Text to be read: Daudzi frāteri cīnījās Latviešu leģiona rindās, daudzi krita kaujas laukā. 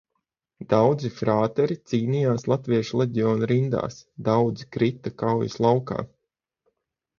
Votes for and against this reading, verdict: 0, 3, rejected